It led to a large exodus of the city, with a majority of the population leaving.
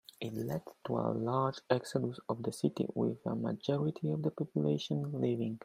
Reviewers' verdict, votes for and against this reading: accepted, 2, 0